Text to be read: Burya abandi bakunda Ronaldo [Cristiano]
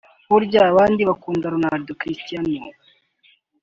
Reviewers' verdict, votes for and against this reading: accepted, 2, 0